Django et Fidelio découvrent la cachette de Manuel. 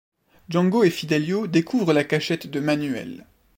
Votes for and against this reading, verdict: 2, 0, accepted